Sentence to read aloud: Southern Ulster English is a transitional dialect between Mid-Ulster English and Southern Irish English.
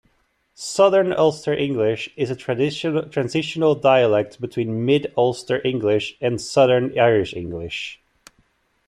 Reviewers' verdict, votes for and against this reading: rejected, 1, 2